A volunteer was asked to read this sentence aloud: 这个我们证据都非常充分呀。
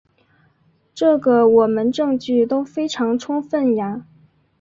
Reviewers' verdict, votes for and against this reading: accepted, 6, 0